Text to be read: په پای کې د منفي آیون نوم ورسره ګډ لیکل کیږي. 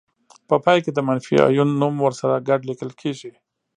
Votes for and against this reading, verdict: 2, 0, accepted